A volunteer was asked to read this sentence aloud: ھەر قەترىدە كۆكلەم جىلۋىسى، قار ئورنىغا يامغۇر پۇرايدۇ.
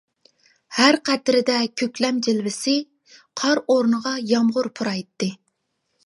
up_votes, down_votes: 0, 2